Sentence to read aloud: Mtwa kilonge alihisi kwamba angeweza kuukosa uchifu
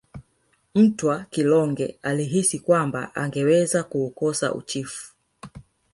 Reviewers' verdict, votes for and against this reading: accepted, 2, 1